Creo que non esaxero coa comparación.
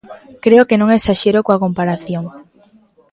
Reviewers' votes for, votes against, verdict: 2, 0, accepted